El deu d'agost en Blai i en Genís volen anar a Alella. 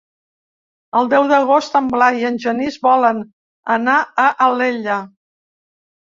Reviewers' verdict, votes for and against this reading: rejected, 1, 2